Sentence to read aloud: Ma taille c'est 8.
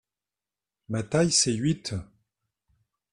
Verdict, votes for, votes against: rejected, 0, 2